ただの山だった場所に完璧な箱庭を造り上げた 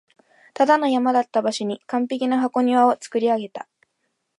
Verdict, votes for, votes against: accepted, 2, 0